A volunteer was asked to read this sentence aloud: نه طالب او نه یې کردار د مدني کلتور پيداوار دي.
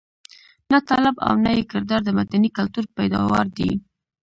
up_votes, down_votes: 1, 2